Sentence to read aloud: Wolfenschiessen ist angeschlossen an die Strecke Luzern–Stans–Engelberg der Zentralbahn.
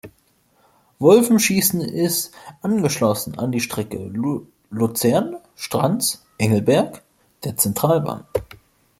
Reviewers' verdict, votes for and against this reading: rejected, 0, 3